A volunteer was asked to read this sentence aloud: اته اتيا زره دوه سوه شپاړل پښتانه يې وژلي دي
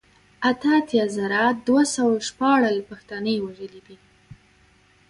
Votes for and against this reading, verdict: 2, 1, accepted